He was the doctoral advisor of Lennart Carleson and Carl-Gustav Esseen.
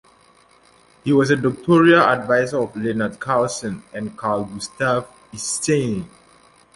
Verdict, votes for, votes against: rejected, 0, 2